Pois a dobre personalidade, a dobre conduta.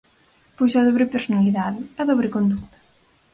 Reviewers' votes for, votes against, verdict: 0, 4, rejected